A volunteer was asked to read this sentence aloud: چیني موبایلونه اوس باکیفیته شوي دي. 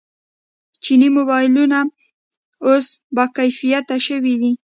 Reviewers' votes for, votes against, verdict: 2, 1, accepted